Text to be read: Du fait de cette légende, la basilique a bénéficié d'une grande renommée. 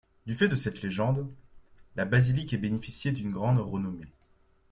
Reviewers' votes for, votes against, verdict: 2, 0, accepted